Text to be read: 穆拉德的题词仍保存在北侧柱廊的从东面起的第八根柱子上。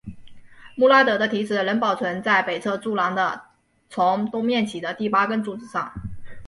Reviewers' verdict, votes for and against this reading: accepted, 5, 1